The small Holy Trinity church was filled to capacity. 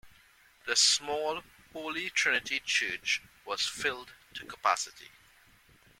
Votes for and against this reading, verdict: 2, 1, accepted